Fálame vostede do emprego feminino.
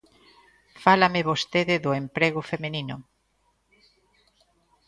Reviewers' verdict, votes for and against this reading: rejected, 0, 2